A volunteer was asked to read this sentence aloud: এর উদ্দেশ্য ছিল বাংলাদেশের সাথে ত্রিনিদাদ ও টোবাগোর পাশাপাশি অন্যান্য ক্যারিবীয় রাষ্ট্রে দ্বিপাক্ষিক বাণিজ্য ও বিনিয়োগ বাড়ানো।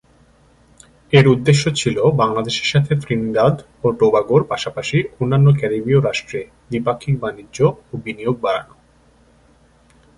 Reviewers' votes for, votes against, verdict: 2, 0, accepted